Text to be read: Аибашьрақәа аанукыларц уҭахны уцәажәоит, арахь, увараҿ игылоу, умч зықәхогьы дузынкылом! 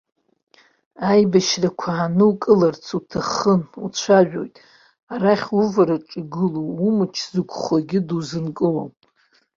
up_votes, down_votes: 1, 2